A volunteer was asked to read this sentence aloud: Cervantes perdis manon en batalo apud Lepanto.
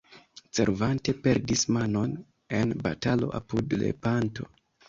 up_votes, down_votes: 1, 2